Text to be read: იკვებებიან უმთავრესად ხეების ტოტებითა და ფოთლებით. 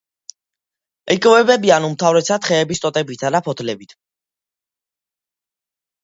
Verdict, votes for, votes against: accepted, 2, 1